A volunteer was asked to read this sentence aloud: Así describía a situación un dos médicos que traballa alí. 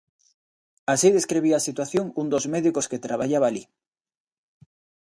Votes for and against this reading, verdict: 1, 2, rejected